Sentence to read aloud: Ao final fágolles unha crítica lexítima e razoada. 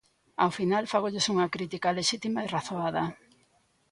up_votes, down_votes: 2, 0